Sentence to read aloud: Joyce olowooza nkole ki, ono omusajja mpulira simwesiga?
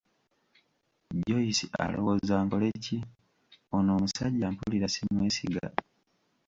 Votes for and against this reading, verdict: 1, 2, rejected